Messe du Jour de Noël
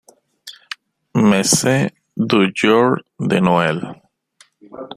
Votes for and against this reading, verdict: 0, 2, rejected